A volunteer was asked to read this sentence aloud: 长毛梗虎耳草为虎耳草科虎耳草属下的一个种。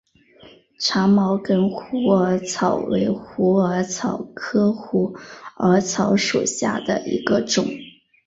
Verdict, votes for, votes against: accepted, 4, 0